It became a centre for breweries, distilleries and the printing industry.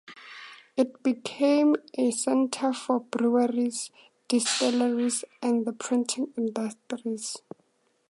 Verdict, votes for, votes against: rejected, 0, 2